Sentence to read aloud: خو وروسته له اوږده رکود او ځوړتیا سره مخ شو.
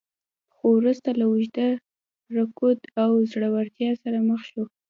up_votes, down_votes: 2, 0